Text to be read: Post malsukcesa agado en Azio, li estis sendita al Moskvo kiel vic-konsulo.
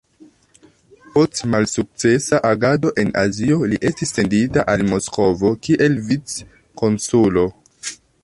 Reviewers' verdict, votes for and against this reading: rejected, 1, 2